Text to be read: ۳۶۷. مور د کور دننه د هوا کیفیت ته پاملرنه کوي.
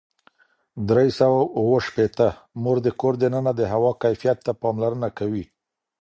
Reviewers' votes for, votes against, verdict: 0, 2, rejected